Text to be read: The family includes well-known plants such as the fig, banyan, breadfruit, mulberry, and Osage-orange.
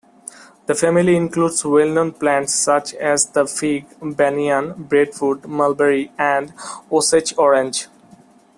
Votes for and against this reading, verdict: 2, 0, accepted